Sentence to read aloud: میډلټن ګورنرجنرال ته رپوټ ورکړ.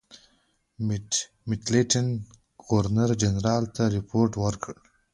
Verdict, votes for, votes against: accepted, 2, 0